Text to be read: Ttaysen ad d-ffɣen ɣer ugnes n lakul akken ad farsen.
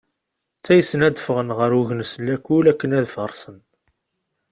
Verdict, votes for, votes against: accepted, 2, 0